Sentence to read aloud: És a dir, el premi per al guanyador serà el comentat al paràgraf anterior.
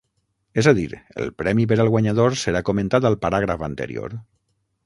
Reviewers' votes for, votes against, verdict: 0, 6, rejected